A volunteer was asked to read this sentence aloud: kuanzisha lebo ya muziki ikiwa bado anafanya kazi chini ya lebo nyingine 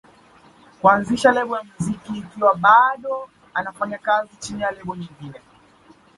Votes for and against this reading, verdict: 2, 1, accepted